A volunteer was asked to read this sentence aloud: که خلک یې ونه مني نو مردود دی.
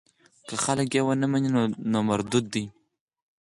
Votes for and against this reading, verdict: 4, 0, accepted